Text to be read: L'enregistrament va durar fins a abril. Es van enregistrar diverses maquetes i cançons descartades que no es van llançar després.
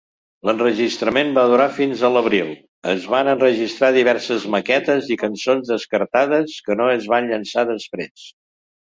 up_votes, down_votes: 1, 2